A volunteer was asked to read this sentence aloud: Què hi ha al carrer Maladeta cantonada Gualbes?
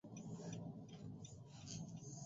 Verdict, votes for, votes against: rejected, 0, 2